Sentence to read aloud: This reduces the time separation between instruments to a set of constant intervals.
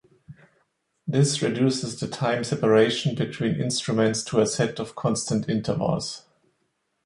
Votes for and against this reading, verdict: 2, 0, accepted